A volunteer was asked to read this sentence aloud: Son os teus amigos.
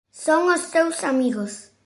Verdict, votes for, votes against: accepted, 2, 0